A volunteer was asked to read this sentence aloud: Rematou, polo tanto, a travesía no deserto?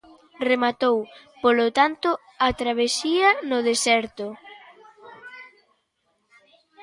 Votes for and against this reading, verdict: 2, 0, accepted